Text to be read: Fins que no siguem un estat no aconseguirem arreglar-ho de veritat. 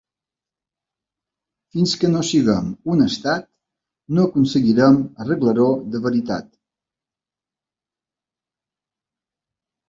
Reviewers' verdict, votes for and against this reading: rejected, 0, 2